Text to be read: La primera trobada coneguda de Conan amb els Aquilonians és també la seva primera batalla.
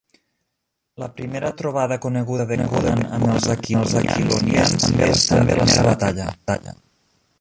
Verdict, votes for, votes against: rejected, 0, 2